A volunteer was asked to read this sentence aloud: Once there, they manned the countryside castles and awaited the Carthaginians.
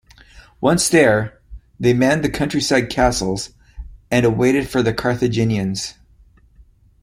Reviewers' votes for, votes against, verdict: 1, 2, rejected